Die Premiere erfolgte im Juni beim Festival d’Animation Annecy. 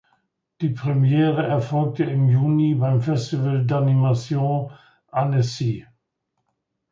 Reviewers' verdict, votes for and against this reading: accepted, 2, 0